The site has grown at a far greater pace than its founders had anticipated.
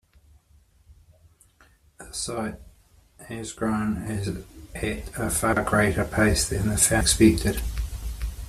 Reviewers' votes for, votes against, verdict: 0, 2, rejected